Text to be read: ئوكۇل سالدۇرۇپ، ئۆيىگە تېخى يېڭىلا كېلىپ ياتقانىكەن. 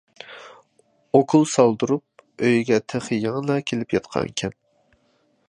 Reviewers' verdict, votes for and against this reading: accepted, 2, 0